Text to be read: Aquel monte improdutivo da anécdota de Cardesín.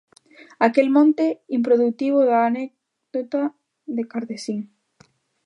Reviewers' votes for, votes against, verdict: 0, 2, rejected